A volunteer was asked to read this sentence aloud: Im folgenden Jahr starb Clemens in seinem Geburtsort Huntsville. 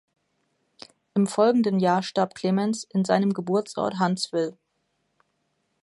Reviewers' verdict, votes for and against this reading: accepted, 2, 0